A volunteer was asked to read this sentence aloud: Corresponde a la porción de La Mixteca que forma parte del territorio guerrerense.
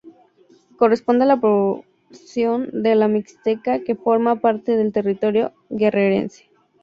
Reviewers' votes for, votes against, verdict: 2, 0, accepted